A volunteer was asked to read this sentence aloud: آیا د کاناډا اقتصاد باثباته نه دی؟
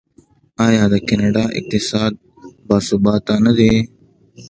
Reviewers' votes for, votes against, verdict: 2, 0, accepted